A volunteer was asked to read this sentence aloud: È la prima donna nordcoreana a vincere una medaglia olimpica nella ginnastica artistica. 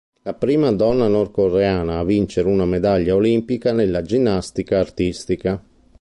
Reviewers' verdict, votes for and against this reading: rejected, 1, 2